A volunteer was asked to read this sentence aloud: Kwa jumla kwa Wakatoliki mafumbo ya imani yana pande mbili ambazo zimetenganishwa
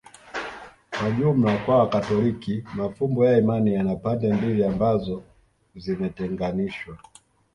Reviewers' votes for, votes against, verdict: 0, 2, rejected